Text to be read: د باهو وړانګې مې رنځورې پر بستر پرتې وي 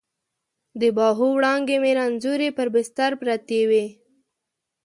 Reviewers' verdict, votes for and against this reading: accepted, 2, 0